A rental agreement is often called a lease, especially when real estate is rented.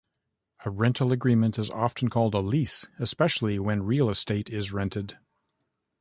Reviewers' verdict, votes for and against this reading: accepted, 2, 0